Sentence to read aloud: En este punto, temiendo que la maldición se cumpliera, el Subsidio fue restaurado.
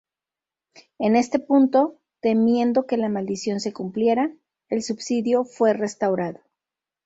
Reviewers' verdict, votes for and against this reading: accepted, 2, 0